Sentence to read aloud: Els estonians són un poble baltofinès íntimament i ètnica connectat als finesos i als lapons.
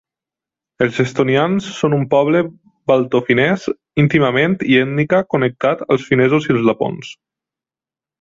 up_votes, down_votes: 2, 0